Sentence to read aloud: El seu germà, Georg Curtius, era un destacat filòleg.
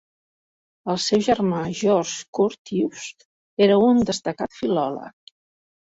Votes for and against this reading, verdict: 2, 1, accepted